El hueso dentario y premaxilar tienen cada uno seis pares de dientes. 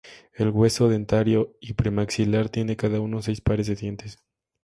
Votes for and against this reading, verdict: 2, 0, accepted